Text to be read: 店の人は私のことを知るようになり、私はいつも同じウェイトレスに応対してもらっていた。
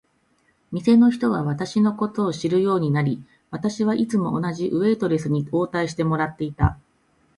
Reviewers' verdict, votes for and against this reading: accepted, 2, 0